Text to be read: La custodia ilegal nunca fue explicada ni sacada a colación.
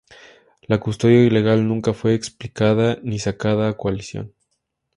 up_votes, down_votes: 6, 0